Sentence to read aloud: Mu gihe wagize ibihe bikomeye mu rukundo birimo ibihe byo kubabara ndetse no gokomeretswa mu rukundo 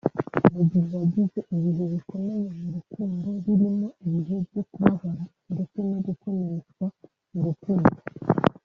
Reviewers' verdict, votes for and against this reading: rejected, 0, 2